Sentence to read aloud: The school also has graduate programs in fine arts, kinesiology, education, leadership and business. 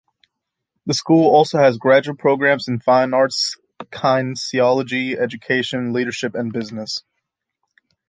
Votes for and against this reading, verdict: 2, 1, accepted